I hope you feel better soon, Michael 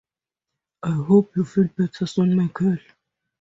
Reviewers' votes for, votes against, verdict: 2, 0, accepted